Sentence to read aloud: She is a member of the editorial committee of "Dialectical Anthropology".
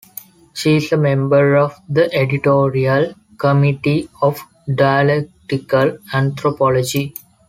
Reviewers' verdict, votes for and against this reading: accepted, 2, 0